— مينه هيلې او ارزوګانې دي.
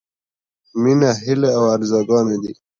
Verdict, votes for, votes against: accepted, 2, 0